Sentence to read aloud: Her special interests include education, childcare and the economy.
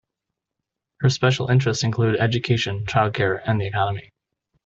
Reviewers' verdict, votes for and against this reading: accepted, 2, 1